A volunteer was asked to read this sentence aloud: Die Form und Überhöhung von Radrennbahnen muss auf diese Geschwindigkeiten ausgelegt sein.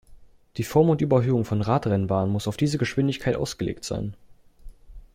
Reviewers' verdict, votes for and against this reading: rejected, 1, 2